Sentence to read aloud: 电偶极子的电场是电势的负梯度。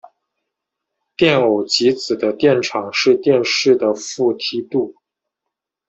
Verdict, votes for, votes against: accepted, 2, 0